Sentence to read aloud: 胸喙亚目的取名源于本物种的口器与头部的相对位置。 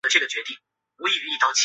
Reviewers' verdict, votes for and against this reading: rejected, 0, 2